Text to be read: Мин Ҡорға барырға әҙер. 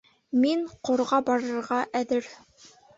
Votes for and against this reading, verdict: 2, 0, accepted